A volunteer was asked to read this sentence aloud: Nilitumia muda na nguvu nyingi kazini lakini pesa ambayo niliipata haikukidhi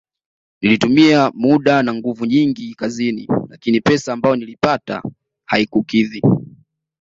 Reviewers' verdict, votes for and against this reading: accepted, 2, 0